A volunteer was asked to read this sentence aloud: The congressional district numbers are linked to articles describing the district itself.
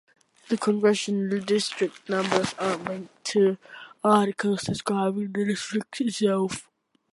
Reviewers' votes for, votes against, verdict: 2, 0, accepted